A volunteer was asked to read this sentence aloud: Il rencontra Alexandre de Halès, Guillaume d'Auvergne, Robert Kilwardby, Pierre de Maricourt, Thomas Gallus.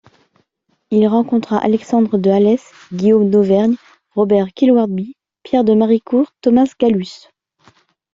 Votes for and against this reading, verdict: 2, 0, accepted